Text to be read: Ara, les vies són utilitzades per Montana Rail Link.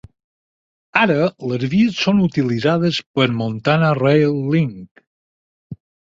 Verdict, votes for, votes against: accepted, 4, 0